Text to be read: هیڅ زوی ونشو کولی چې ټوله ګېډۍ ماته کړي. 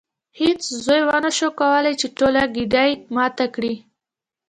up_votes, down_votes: 1, 2